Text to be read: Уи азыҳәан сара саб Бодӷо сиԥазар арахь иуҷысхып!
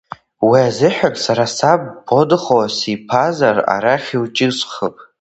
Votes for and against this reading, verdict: 0, 2, rejected